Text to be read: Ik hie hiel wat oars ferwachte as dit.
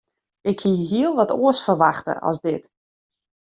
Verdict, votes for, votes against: accepted, 2, 0